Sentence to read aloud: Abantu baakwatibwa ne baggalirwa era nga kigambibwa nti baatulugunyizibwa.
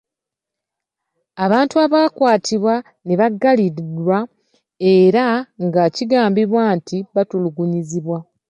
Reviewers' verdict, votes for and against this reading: rejected, 0, 2